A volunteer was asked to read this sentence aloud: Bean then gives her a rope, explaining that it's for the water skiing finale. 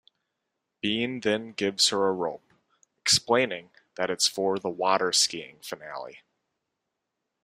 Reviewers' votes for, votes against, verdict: 2, 0, accepted